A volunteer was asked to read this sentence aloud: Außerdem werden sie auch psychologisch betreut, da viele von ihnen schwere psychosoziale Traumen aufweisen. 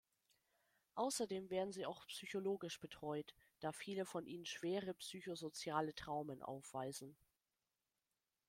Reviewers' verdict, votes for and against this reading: accepted, 2, 0